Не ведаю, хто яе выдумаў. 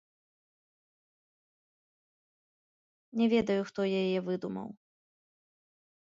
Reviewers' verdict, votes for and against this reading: rejected, 0, 2